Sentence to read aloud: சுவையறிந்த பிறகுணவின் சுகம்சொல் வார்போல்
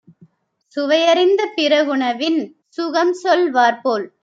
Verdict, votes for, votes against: accepted, 2, 0